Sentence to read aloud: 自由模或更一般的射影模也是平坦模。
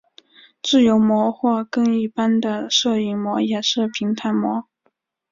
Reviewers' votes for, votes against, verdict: 3, 0, accepted